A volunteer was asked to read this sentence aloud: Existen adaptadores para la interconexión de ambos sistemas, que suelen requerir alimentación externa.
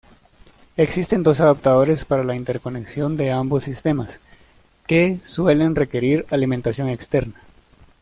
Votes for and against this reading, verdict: 0, 2, rejected